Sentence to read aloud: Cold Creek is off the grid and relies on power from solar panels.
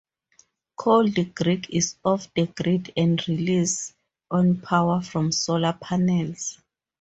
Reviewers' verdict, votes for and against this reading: rejected, 0, 4